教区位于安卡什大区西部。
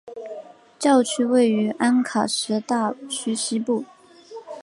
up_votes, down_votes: 5, 0